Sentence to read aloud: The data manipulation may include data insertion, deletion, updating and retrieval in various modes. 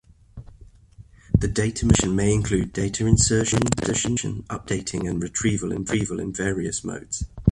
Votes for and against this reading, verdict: 0, 2, rejected